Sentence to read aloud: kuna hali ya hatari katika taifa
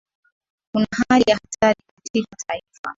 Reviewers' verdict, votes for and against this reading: rejected, 0, 2